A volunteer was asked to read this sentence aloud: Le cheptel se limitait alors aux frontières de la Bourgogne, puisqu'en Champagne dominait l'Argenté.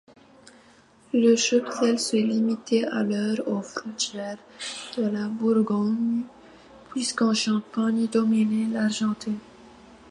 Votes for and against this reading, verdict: 1, 2, rejected